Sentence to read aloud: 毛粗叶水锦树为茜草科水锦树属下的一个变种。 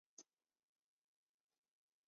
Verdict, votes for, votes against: rejected, 0, 2